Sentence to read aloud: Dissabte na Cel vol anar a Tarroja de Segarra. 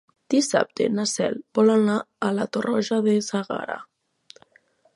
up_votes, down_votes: 0, 3